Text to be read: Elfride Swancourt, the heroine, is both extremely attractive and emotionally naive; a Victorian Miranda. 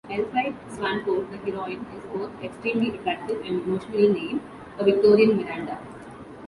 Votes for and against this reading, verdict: 1, 2, rejected